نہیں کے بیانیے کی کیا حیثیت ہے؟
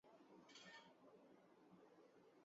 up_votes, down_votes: 0, 3